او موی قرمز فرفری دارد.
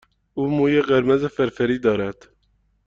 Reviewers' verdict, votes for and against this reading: accepted, 2, 0